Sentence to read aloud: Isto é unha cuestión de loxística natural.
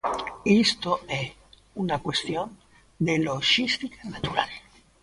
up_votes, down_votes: 0, 2